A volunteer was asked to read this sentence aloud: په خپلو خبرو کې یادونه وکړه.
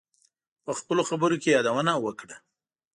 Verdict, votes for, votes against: accepted, 2, 0